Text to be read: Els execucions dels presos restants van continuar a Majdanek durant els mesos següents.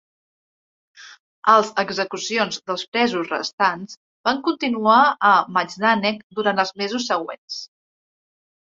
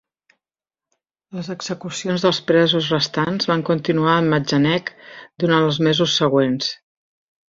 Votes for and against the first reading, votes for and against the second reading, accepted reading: 3, 0, 1, 2, first